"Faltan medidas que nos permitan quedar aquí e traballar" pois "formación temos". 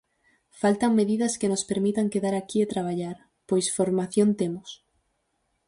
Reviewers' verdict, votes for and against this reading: accepted, 4, 0